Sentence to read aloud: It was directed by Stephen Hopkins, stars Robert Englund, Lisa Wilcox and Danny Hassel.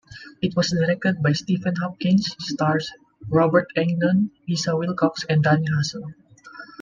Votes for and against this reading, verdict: 0, 2, rejected